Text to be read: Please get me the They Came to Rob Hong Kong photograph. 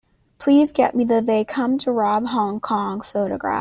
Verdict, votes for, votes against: rejected, 1, 2